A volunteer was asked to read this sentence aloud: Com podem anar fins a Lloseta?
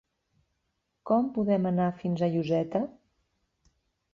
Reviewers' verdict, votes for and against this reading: rejected, 0, 2